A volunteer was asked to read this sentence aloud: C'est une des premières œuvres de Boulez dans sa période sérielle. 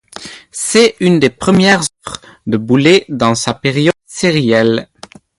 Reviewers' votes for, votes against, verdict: 0, 2, rejected